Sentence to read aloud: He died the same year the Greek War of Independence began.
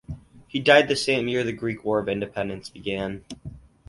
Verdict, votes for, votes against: accepted, 2, 0